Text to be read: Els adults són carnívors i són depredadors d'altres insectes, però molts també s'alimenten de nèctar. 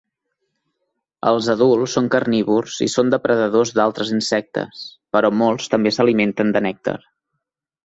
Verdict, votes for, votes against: accepted, 2, 0